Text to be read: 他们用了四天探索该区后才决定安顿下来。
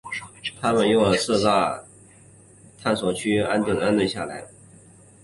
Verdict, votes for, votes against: rejected, 0, 3